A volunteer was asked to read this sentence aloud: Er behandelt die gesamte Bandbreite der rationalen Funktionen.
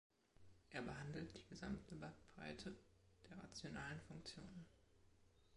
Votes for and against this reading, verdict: 1, 2, rejected